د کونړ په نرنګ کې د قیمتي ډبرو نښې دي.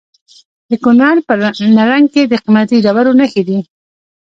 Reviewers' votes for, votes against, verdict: 0, 2, rejected